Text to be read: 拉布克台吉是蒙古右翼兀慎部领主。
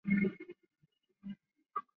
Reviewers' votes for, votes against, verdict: 1, 3, rejected